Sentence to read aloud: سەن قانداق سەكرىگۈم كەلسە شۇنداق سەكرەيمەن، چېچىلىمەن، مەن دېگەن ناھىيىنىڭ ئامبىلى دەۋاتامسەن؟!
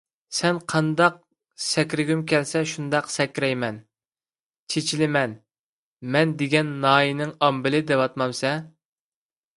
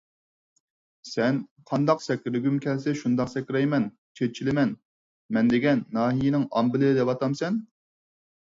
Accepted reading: second